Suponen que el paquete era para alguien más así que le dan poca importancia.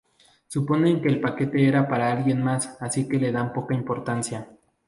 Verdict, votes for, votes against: accepted, 2, 0